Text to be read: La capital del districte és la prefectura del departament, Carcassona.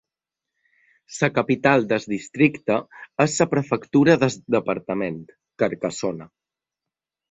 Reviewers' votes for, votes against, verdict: 1, 2, rejected